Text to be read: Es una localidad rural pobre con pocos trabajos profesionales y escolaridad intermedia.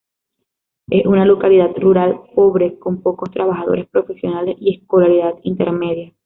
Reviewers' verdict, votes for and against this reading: rejected, 1, 2